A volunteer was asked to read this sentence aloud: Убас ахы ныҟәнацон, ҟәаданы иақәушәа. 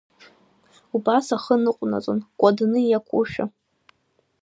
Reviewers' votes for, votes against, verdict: 1, 2, rejected